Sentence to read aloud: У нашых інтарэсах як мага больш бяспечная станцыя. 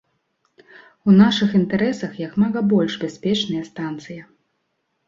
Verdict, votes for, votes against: accepted, 2, 0